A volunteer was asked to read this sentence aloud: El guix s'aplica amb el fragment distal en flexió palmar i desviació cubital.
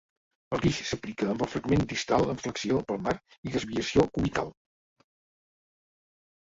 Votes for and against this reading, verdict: 2, 1, accepted